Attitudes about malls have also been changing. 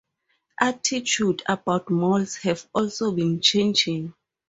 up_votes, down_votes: 4, 0